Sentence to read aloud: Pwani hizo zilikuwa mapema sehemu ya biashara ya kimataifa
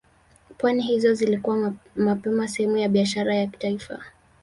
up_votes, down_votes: 4, 0